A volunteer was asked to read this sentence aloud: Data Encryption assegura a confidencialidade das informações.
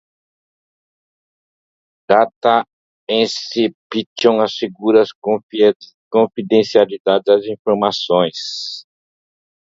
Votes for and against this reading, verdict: 0, 2, rejected